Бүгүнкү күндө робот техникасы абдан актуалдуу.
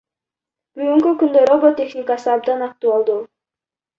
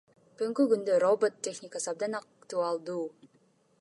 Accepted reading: second